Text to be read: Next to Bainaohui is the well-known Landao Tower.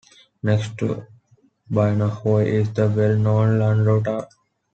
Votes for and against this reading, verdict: 2, 1, accepted